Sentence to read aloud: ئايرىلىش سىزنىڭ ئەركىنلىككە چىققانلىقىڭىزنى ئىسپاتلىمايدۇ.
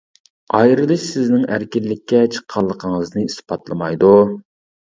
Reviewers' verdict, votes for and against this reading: accepted, 2, 0